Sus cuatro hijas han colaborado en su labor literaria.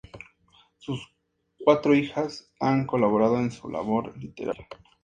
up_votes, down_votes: 2, 0